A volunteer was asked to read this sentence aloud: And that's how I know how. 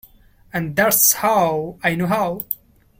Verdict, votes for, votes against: accepted, 2, 0